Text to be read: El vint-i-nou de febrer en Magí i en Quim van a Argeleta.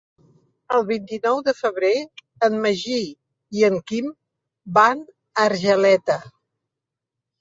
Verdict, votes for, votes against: accepted, 3, 0